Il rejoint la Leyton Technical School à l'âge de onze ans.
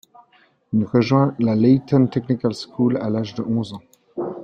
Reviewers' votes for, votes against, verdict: 2, 1, accepted